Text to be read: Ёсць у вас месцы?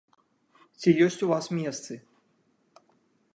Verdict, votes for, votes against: rejected, 1, 2